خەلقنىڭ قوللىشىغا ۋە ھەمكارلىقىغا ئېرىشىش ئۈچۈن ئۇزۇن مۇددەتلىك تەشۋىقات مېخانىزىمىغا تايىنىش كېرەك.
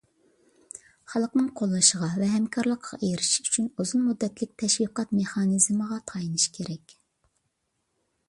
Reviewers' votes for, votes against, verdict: 2, 0, accepted